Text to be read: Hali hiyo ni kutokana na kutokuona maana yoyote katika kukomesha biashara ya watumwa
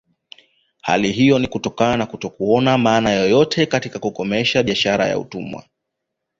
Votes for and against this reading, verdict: 2, 1, accepted